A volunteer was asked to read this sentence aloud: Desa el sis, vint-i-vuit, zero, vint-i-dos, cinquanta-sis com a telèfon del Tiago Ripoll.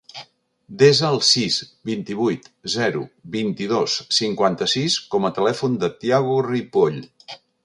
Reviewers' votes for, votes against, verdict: 1, 2, rejected